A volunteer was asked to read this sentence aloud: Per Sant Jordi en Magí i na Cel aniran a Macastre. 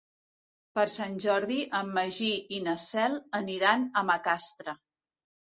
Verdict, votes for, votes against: accepted, 2, 0